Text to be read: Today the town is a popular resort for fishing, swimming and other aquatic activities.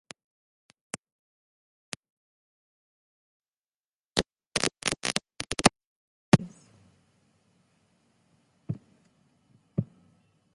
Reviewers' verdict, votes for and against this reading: rejected, 0, 2